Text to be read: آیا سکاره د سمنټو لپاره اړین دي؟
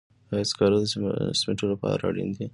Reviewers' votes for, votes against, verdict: 2, 0, accepted